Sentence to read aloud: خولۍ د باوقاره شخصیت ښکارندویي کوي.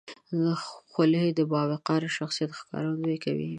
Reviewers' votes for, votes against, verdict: 2, 0, accepted